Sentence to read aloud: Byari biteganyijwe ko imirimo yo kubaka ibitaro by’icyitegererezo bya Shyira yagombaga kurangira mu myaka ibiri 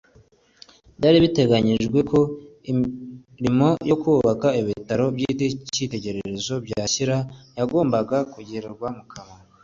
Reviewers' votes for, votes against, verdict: 1, 2, rejected